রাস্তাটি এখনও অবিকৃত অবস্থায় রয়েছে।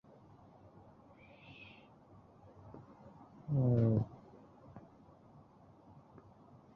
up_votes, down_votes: 0, 3